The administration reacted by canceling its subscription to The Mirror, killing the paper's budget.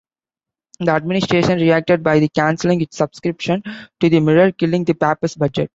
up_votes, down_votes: 1, 2